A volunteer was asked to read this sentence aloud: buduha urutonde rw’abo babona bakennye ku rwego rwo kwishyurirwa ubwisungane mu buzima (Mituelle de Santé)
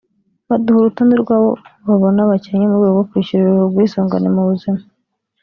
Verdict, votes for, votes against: rejected, 2, 3